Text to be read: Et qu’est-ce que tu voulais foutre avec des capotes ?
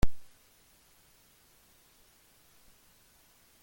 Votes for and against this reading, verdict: 0, 2, rejected